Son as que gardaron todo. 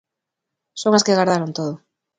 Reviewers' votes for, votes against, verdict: 2, 1, accepted